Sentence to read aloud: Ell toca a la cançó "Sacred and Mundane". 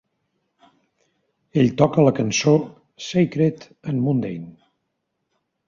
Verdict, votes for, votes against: accepted, 2, 0